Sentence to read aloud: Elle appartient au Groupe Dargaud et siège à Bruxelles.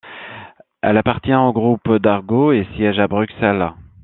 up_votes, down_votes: 2, 0